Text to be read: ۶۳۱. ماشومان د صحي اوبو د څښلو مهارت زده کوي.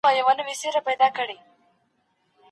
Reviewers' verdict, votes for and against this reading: rejected, 0, 2